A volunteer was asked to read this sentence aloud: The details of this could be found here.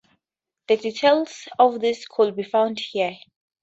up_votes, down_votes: 2, 0